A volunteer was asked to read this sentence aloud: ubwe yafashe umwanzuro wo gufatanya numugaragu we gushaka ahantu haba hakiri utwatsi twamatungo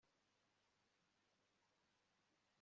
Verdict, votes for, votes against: rejected, 1, 2